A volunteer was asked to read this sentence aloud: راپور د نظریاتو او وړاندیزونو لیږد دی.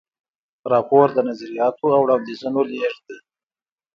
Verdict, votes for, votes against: rejected, 0, 2